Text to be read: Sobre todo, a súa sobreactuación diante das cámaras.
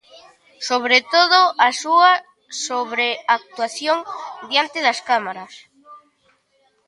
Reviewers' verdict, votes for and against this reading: rejected, 1, 2